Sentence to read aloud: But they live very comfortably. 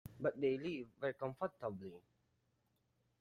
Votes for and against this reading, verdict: 2, 0, accepted